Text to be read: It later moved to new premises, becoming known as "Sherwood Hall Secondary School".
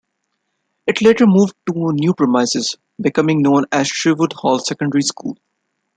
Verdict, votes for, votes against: rejected, 0, 2